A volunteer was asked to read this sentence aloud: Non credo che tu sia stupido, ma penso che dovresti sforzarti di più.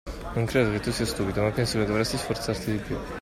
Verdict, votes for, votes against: rejected, 0, 2